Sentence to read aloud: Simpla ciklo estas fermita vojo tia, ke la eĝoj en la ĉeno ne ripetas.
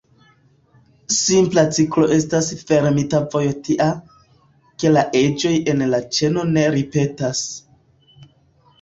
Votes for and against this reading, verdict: 0, 2, rejected